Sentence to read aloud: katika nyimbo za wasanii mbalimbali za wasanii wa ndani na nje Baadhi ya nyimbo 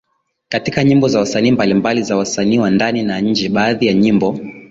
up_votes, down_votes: 2, 0